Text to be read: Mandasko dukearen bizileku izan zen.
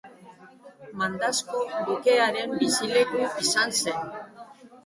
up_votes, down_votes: 1, 2